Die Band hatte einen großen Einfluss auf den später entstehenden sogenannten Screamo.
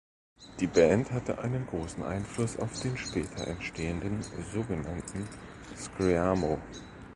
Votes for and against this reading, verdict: 1, 2, rejected